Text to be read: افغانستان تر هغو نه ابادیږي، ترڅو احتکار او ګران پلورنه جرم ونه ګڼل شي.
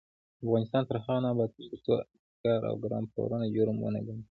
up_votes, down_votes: 1, 2